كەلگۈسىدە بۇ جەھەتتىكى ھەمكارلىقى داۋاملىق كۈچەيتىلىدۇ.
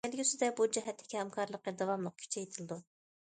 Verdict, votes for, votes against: rejected, 0, 2